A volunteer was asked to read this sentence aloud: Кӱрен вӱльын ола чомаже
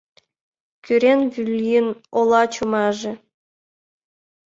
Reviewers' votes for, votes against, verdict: 1, 2, rejected